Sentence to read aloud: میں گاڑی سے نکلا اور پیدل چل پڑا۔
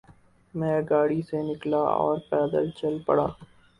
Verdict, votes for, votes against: rejected, 0, 2